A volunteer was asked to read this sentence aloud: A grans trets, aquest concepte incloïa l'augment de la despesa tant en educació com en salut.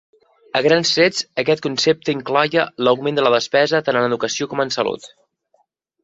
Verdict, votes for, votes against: rejected, 1, 2